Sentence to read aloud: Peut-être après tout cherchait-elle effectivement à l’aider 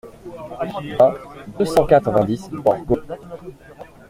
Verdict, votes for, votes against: rejected, 0, 2